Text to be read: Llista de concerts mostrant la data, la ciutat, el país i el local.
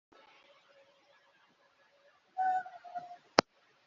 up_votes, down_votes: 0, 2